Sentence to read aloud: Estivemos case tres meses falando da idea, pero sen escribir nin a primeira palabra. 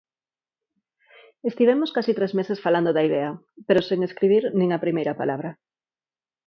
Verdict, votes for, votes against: accepted, 4, 0